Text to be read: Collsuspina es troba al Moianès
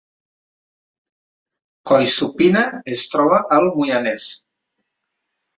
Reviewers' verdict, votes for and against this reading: rejected, 0, 2